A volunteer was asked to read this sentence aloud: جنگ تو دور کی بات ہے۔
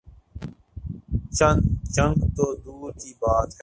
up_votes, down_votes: 0, 2